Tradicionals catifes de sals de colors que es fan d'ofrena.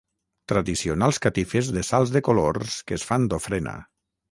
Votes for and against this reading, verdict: 6, 0, accepted